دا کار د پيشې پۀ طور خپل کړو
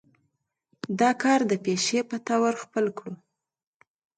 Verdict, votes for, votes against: accepted, 2, 0